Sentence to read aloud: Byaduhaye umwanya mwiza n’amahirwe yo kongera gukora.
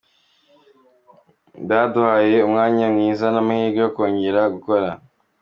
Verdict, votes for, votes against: accepted, 3, 0